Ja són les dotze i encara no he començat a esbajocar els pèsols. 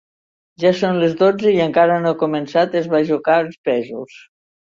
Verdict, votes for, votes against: accepted, 2, 0